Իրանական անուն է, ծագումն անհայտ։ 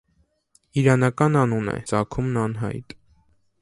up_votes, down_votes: 2, 0